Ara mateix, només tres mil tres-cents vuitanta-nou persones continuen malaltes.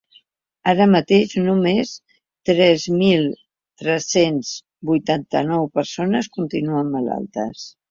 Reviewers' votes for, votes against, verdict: 3, 0, accepted